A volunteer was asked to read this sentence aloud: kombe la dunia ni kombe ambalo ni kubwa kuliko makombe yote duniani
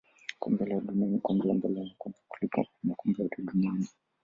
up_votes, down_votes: 0, 2